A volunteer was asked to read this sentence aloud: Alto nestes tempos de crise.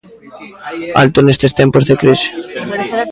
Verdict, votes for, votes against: rejected, 1, 2